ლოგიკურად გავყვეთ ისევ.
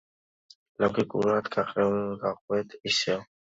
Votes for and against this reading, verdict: 2, 0, accepted